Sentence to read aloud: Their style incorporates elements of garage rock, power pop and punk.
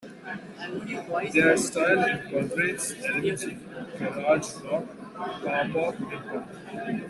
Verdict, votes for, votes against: rejected, 0, 2